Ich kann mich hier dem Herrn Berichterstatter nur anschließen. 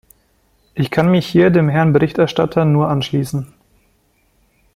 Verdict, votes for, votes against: accepted, 2, 0